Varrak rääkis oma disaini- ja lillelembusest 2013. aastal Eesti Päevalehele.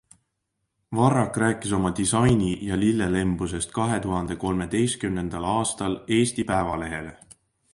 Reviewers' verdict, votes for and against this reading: rejected, 0, 2